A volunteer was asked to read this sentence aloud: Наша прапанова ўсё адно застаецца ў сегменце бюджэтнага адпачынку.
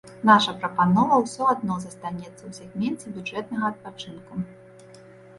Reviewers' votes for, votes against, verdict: 0, 2, rejected